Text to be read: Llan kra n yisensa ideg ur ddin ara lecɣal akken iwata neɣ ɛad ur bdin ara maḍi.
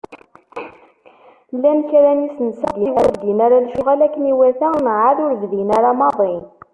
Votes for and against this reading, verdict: 1, 2, rejected